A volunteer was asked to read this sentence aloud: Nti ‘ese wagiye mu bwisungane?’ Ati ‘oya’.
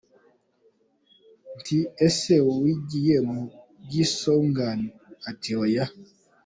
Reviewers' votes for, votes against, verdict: 2, 0, accepted